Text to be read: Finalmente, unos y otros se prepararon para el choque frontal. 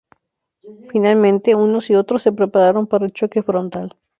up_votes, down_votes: 2, 0